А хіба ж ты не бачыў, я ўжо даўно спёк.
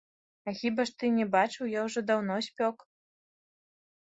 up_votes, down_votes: 1, 2